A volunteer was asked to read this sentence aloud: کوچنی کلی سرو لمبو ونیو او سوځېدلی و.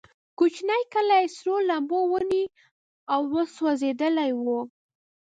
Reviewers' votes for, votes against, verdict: 1, 2, rejected